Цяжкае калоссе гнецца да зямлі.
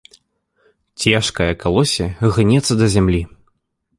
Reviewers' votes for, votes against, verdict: 2, 3, rejected